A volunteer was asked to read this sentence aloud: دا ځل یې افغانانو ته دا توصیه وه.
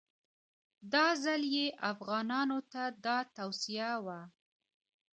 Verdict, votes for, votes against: accepted, 2, 1